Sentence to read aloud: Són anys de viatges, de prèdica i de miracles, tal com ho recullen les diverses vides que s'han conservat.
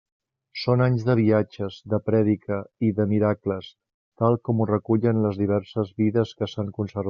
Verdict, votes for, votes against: rejected, 0, 2